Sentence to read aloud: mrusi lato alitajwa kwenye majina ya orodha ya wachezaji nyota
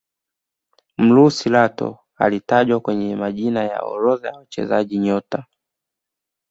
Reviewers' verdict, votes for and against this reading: accepted, 2, 0